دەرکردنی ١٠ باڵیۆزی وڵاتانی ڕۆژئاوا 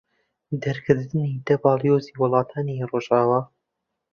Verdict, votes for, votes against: rejected, 0, 2